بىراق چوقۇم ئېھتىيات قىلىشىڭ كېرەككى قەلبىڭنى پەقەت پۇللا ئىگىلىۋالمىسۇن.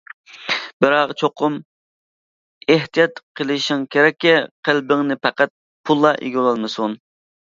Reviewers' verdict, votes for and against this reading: accepted, 2, 1